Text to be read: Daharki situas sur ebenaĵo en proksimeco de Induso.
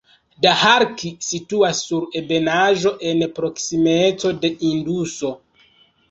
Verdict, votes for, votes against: accepted, 2, 1